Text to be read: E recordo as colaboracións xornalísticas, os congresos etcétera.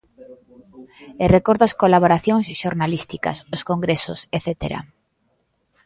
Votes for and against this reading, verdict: 2, 0, accepted